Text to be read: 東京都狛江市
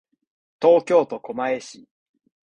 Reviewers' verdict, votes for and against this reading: accepted, 2, 0